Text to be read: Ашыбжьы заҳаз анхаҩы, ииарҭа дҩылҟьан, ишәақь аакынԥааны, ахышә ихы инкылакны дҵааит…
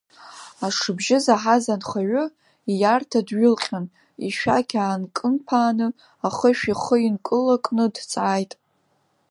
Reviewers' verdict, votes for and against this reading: accepted, 3, 1